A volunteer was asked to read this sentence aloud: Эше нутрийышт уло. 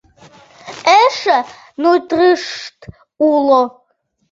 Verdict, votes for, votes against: rejected, 0, 2